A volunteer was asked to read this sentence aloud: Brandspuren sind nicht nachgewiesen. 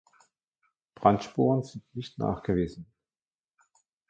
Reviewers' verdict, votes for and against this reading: rejected, 1, 2